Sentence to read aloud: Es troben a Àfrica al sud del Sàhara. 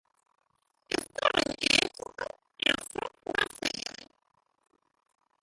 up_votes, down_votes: 0, 3